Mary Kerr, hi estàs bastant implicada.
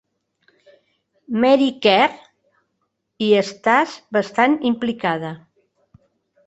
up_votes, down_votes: 2, 0